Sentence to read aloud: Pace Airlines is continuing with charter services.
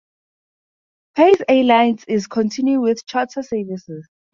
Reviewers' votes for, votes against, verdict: 2, 4, rejected